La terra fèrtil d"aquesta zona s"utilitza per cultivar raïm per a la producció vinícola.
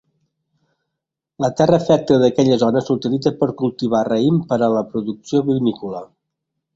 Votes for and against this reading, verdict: 1, 2, rejected